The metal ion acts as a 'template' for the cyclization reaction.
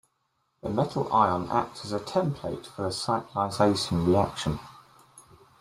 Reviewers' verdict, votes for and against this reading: accepted, 2, 0